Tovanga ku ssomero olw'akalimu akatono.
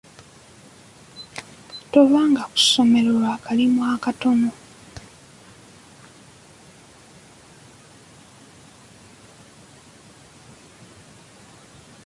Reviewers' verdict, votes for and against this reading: rejected, 2, 3